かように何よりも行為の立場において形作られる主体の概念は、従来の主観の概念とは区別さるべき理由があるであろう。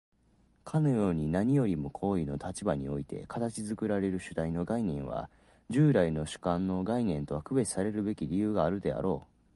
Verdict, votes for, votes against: accepted, 4, 0